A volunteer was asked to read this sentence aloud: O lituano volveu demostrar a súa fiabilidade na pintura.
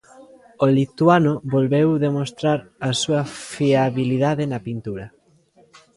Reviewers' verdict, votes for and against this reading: rejected, 1, 2